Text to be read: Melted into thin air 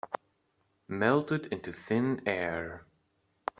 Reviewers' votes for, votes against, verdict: 2, 0, accepted